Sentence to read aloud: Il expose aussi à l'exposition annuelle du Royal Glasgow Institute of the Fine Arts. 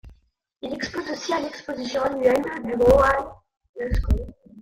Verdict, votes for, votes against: rejected, 0, 2